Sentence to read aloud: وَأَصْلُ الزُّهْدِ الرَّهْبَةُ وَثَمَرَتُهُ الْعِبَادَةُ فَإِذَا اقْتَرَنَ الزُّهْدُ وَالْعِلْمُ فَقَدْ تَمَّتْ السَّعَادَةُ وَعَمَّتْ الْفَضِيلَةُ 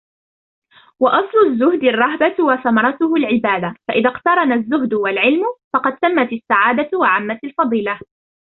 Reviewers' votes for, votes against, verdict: 1, 2, rejected